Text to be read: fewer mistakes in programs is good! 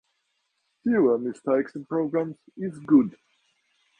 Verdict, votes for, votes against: accepted, 2, 0